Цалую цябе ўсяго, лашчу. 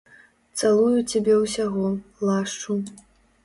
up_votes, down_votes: 2, 0